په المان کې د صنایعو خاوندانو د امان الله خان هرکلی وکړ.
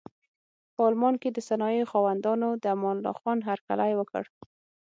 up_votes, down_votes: 6, 0